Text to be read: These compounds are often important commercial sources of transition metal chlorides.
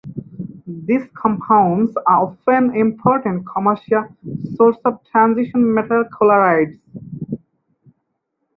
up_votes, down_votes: 2, 4